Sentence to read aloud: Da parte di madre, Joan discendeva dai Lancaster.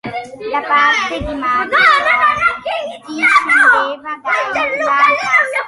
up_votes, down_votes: 0, 2